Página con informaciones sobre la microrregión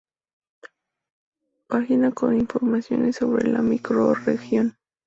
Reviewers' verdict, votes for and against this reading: rejected, 0, 2